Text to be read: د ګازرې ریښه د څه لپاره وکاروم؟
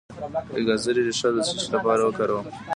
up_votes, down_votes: 1, 2